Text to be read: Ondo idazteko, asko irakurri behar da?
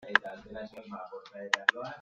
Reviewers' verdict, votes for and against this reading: rejected, 0, 2